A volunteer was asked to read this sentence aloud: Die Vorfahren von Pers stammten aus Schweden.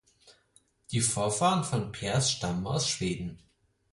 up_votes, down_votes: 0, 4